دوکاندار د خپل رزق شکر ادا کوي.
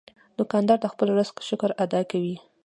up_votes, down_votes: 2, 0